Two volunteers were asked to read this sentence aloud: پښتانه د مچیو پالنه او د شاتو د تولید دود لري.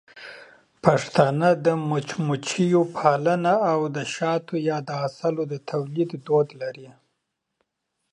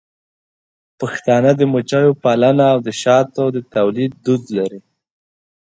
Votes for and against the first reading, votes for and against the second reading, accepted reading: 1, 2, 2, 0, second